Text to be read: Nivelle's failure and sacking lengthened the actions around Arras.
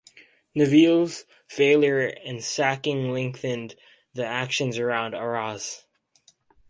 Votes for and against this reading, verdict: 4, 0, accepted